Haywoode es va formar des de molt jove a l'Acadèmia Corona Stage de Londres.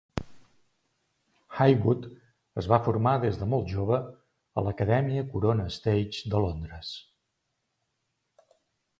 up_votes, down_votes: 2, 0